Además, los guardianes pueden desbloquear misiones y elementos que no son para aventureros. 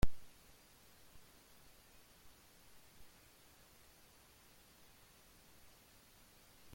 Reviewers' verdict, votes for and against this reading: rejected, 0, 2